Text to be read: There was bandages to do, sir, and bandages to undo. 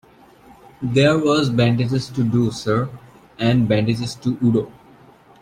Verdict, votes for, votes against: rejected, 0, 2